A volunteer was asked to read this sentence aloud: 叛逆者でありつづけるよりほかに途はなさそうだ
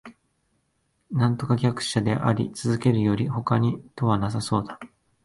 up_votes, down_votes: 1, 2